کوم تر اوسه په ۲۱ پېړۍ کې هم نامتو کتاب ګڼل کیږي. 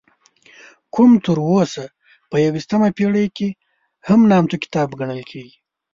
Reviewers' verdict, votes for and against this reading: rejected, 0, 2